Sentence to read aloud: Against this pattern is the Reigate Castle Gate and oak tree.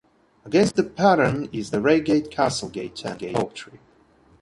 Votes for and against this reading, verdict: 0, 2, rejected